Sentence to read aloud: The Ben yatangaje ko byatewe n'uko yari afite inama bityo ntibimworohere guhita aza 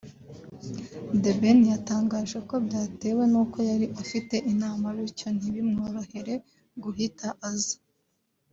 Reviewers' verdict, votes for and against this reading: accepted, 2, 0